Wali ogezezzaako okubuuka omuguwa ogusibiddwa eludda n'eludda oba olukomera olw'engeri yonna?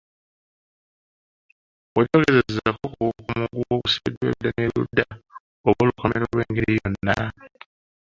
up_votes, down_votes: 0, 3